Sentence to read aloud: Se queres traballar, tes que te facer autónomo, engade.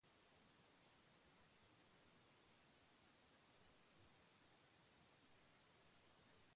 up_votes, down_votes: 0, 2